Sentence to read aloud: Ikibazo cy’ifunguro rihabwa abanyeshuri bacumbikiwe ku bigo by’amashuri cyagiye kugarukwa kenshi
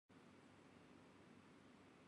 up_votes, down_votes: 1, 2